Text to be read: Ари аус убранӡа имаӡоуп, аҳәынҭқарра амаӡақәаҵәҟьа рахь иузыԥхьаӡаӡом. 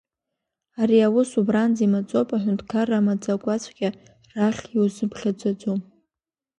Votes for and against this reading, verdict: 2, 1, accepted